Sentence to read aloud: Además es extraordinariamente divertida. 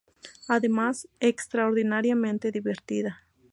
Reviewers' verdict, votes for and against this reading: accepted, 2, 0